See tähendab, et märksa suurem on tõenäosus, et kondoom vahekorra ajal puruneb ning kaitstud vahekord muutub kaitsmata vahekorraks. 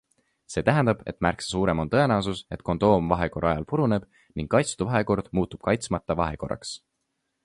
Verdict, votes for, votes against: accepted, 2, 0